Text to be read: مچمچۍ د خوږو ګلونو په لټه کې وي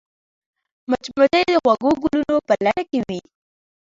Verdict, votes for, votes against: accepted, 2, 0